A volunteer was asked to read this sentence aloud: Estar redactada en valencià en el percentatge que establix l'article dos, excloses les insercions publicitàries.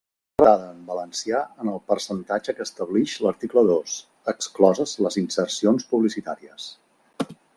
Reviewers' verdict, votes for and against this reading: rejected, 0, 2